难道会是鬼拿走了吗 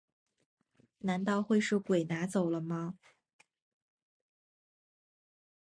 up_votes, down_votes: 3, 2